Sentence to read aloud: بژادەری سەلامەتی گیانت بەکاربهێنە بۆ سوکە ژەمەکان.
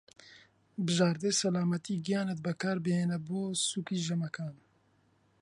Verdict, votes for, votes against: rejected, 0, 2